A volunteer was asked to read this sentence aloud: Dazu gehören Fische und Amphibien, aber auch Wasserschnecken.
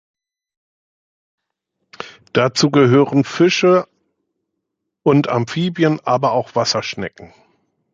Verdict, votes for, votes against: accepted, 2, 1